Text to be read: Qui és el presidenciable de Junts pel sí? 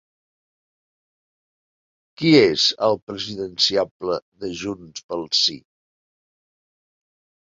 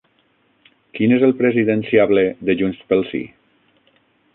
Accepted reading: first